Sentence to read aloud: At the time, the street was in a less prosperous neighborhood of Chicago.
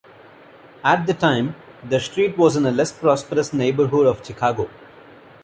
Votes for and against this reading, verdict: 2, 0, accepted